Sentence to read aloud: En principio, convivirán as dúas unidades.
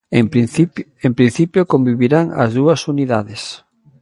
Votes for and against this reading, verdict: 1, 2, rejected